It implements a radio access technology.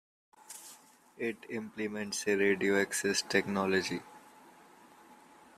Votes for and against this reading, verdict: 2, 0, accepted